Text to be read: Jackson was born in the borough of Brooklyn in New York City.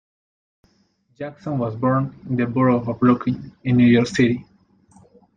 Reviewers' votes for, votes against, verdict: 2, 0, accepted